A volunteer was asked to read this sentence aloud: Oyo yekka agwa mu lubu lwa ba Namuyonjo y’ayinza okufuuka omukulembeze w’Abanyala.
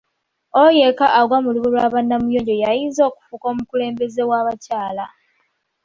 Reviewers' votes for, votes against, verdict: 2, 1, accepted